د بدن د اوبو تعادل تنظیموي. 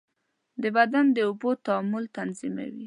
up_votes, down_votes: 1, 2